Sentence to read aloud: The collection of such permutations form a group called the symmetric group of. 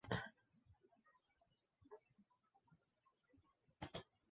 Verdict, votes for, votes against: rejected, 0, 2